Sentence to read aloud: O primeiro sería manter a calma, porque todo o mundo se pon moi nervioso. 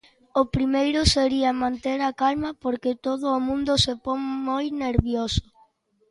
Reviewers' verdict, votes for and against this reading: accepted, 2, 0